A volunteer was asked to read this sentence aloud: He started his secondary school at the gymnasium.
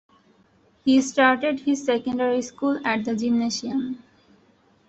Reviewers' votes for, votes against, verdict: 2, 0, accepted